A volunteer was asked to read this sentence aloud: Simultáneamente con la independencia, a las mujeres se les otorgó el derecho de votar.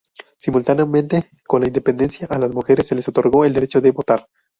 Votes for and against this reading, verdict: 0, 2, rejected